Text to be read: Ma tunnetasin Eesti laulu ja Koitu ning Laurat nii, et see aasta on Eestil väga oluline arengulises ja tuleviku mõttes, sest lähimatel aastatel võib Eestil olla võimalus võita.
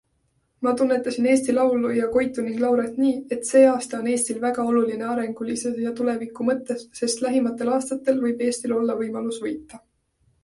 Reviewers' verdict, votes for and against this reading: accepted, 2, 0